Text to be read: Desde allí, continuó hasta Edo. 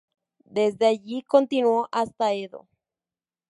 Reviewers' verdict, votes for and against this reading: accepted, 2, 0